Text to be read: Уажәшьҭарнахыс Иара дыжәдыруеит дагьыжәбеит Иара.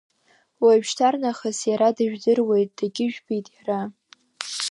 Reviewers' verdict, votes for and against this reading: rejected, 1, 2